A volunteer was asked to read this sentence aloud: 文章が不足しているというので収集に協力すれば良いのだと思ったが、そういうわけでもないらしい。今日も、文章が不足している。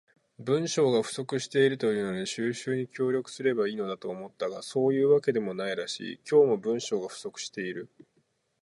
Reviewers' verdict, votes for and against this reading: rejected, 0, 4